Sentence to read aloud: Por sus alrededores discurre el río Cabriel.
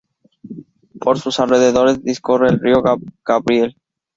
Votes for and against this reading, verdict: 0, 2, rejected